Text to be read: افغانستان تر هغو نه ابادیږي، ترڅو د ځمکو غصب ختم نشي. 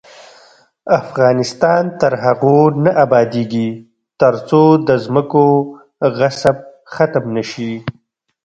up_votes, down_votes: 1, 2